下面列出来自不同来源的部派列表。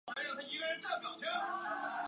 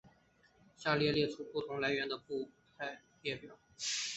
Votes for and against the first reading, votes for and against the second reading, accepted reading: 0, 4, 2, 1, second